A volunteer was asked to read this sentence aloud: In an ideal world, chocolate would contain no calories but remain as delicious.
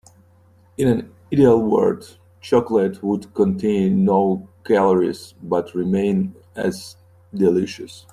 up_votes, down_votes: 2, 1